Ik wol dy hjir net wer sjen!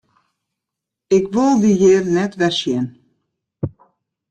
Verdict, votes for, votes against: accepted, 2, 1